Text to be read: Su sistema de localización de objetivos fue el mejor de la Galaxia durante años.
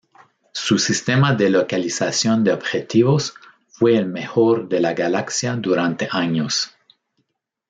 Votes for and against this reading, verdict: 1, 2, rejected